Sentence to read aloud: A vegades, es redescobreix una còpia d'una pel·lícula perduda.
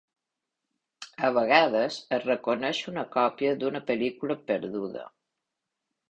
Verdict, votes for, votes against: rejected, 1, 2